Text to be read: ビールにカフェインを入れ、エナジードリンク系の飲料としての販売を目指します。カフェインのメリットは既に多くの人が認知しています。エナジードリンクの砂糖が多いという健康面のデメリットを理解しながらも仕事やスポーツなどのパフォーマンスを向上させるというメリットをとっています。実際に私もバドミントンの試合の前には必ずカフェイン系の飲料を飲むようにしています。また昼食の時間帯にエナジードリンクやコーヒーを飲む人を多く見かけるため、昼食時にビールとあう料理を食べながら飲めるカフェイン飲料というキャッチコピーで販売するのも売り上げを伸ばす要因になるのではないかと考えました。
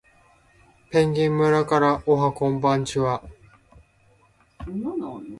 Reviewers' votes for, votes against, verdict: 1, 2, rejected